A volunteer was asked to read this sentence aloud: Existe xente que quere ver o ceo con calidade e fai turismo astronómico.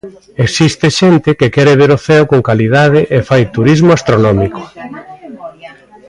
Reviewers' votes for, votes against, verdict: 2, 0, accepted